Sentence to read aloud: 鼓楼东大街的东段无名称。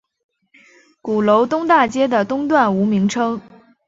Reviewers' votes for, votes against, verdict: 2, 0, accepted